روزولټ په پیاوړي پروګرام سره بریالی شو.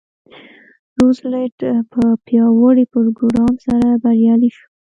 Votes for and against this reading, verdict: 2, 0, accepted